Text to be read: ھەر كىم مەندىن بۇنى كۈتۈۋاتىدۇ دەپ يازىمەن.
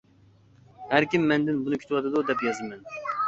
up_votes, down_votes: 2, 0